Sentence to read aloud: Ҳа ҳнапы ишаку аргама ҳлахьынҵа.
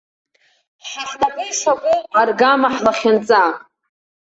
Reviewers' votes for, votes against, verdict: 2, 0, accepted